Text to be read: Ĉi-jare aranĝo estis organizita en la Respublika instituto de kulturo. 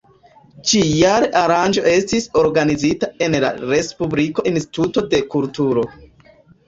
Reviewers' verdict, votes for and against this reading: rejected, 1, 2